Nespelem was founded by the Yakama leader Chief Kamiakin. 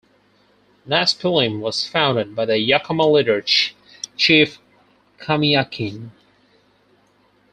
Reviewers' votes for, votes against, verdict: 0, 4, rejected